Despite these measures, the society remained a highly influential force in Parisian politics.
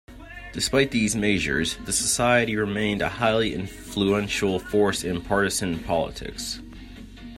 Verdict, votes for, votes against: rejected, 0, 2